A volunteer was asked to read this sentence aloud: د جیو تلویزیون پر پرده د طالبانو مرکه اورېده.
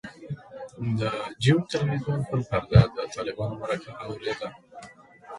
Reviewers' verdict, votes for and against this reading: accepted, 2, 1